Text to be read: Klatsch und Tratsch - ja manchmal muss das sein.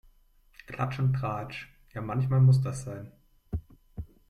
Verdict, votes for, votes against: accepted, 2, 0